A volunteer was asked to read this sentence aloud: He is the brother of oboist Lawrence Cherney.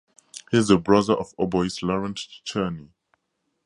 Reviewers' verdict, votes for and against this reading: rejected, 0, 2